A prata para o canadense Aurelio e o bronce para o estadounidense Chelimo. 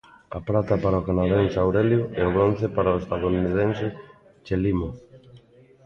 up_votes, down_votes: 2, 0